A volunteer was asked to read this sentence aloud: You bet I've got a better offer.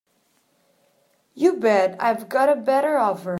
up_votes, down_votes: 2, 1